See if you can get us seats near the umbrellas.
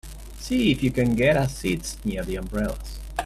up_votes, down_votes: 2, 0